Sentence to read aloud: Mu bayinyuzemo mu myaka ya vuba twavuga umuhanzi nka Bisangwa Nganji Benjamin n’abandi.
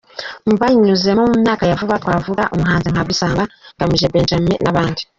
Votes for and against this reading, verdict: 0, 2, rejected